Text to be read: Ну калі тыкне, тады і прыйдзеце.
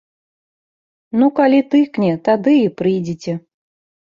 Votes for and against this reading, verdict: 3, 0, accepted